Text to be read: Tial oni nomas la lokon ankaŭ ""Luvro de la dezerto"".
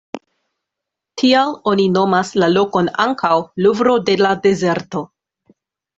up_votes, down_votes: 2, 0